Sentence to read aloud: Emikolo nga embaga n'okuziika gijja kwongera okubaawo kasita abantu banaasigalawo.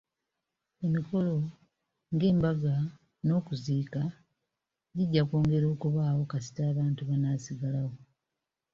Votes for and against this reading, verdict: 3, 0, accepted